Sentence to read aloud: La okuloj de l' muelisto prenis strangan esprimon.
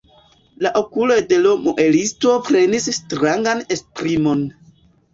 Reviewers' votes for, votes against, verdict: 1, 3, rejected